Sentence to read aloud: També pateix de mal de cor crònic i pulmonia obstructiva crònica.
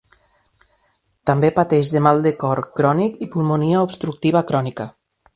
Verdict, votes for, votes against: accepted, 2, 0